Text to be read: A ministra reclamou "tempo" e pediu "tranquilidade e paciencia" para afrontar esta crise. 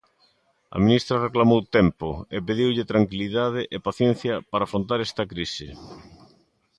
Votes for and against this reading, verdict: 0, 2, rejected